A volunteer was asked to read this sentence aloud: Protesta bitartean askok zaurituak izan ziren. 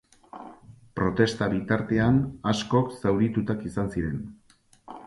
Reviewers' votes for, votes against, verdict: 0, 4, rejected